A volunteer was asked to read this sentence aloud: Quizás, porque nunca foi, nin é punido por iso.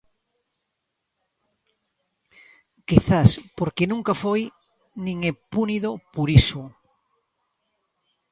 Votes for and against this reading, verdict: 0, 2, rejected